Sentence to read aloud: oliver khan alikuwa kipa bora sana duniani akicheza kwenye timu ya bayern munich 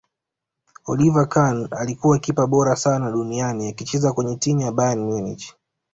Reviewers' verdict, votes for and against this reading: accepted, 2, 0